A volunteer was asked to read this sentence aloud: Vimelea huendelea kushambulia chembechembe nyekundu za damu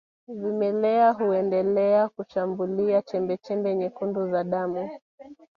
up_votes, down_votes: 1, 2